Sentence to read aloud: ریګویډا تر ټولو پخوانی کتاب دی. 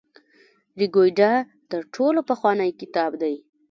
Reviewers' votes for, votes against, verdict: 2, 0, accepted